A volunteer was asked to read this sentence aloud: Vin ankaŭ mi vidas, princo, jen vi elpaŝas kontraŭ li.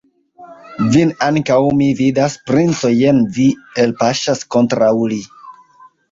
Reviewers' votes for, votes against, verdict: 2, 1, accepted